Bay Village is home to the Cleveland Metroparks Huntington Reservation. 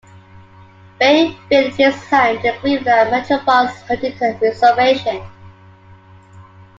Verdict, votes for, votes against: rejected, 1, 2